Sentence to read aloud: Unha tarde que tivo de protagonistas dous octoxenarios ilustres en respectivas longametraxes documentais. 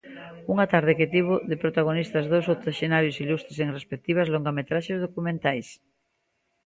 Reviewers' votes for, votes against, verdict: 2, 0, accepted